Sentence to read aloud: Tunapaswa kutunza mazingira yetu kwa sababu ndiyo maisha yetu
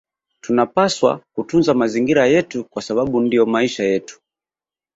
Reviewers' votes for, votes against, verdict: 0, 2, rejected